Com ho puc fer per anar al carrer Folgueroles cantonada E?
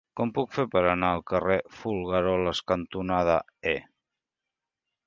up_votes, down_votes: 1, 2